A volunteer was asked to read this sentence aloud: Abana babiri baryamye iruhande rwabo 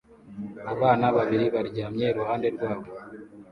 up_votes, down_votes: 2, 0